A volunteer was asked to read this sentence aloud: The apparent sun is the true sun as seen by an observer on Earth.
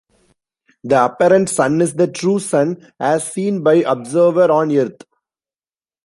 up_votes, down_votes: 1, 2